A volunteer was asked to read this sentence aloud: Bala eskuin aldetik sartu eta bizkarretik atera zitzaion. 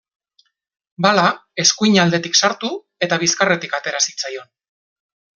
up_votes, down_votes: 2, 0